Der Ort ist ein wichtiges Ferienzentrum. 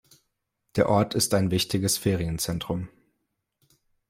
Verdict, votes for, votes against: accepted, 2, 0